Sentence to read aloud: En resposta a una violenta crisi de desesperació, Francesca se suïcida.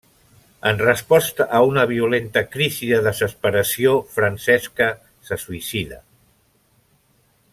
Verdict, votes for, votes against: accepted, 2, 0